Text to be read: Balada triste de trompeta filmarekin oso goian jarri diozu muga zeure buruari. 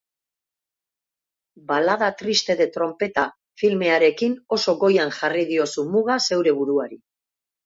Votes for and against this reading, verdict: 0, 2, rejected